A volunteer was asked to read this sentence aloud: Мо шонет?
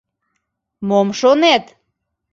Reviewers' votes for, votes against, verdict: 0, 2, rejected